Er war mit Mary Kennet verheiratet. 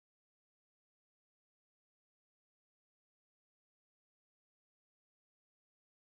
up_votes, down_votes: 0, 2